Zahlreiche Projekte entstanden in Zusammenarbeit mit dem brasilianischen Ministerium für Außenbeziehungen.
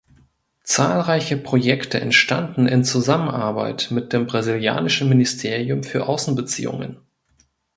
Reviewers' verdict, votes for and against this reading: accepted, 2, 0